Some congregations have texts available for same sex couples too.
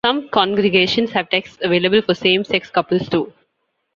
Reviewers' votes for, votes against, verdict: 1, 2, rejected